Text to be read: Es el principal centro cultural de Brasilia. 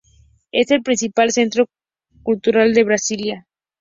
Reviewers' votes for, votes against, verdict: 2, 0, accepted